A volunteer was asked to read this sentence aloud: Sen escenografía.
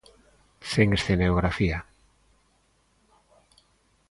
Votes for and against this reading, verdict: 1, 2, rejected